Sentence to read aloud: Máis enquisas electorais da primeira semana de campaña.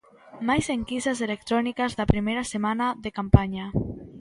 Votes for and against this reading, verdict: 0, 2, rejected